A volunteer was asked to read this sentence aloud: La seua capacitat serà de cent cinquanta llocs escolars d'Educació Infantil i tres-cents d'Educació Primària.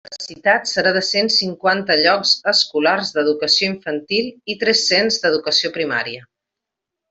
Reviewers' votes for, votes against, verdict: 0, 2, rejected